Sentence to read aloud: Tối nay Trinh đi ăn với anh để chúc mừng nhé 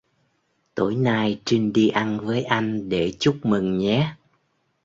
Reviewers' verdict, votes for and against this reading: accepted, 3, 0